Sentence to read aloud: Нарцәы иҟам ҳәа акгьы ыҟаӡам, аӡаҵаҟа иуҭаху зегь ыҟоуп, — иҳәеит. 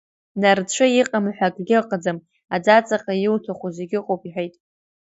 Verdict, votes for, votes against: accepted, 2, 0